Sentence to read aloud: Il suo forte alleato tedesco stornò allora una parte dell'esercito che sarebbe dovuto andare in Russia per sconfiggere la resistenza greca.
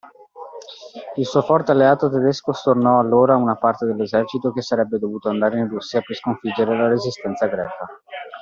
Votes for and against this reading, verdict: 2, 0, accepted